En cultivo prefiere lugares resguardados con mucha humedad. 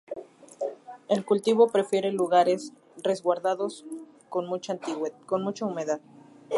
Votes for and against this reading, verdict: 0, 2, rejected